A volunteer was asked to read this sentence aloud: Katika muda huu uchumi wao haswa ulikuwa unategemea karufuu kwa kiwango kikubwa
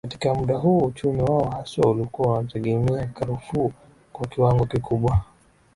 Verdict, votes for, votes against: accepted, 2, 0